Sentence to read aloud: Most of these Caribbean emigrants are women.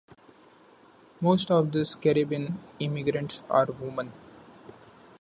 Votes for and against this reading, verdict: 0, 2, rejected